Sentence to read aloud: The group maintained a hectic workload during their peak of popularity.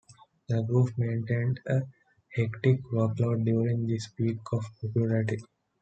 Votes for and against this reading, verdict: 1, 2, rejected